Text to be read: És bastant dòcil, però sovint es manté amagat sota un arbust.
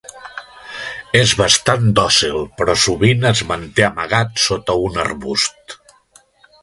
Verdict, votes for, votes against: accepted, 2, 0